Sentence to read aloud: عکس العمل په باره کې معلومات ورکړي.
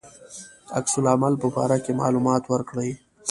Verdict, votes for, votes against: accepted, 2, 0